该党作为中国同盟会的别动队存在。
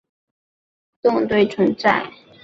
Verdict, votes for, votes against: rejected, 1, 2